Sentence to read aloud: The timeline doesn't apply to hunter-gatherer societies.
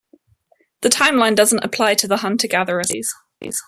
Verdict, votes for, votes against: rejected, 0, 2